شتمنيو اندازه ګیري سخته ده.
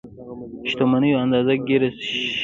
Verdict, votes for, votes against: rejected, 0, 2